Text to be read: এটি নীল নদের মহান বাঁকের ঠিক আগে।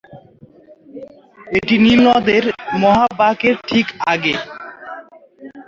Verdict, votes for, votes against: rejected, 2, 2